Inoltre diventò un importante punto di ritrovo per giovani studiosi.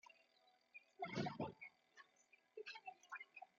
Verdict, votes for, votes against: rejected, 0, 2